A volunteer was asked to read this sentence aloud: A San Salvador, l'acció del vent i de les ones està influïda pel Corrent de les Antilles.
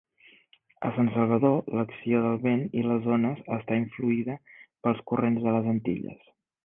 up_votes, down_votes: 3, 4